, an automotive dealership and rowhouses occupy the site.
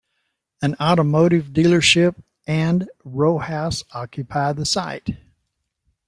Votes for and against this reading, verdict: 1, 2, rejected